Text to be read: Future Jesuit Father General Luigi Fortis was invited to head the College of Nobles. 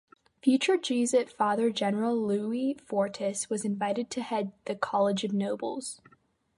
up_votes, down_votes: 0, 2